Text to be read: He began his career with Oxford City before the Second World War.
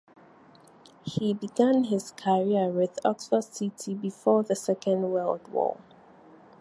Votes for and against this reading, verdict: 4, 2, accepted